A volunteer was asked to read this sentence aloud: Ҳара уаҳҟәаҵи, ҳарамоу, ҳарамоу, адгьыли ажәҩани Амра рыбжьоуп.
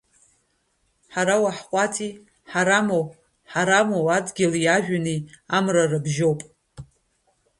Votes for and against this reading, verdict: 1, 2, rejected